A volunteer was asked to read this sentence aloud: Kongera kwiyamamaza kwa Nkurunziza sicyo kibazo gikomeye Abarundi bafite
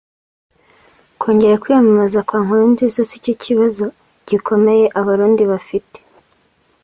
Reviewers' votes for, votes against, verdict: 2, 0, accepted